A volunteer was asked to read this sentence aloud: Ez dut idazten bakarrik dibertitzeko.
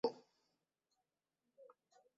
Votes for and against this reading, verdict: 0, 2, rejected